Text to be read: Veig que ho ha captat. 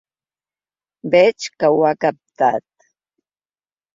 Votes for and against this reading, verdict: 2, 0, accepted